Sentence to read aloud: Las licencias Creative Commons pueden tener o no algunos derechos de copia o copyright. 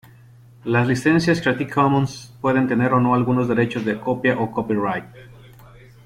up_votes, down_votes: 2, 0